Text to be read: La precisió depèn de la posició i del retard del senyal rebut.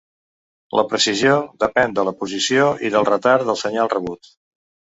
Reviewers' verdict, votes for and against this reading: accepted, 2, 0